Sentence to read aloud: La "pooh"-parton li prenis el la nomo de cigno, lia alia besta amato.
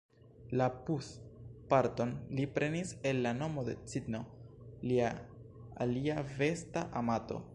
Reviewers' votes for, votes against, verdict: 1, 2, rejected